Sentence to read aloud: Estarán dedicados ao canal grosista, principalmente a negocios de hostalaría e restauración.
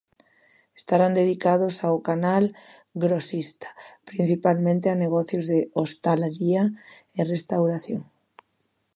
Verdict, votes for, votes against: accepted, 2, 0